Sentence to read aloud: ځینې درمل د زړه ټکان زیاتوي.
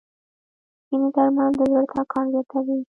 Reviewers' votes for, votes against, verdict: 1, 2, rejected